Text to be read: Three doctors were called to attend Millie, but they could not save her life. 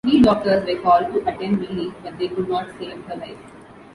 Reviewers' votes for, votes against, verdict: 2, 1, accepted